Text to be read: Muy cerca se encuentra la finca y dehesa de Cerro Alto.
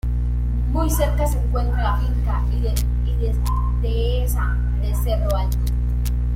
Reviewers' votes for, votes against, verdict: 0, 2, rejected